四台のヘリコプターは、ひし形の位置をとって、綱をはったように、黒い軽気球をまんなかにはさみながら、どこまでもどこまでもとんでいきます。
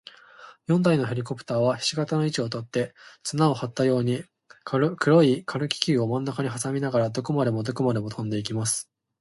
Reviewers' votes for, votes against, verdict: 2, 0, accepted